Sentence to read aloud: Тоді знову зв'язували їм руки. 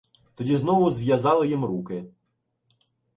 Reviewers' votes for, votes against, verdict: 0, 2, rejected